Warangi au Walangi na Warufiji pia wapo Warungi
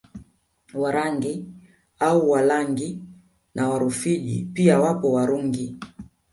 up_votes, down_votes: 2, 0